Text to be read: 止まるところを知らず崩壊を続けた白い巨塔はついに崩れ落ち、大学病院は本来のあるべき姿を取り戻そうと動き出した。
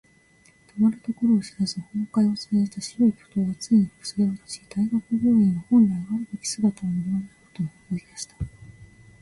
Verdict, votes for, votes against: rejected, 1, 2